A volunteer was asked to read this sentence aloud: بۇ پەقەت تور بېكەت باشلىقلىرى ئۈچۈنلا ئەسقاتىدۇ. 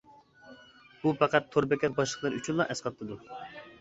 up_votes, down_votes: 2, 0